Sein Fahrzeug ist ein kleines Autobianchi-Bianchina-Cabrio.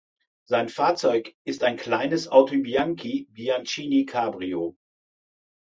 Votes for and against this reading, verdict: 0, 2, rejected